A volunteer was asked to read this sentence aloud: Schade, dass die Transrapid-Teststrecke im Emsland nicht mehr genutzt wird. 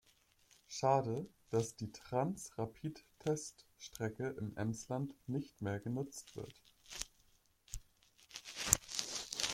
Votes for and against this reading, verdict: 2, 0, accepted